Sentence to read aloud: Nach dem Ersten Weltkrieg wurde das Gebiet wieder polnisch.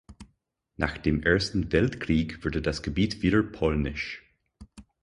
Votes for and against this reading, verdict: 4, 2, accepted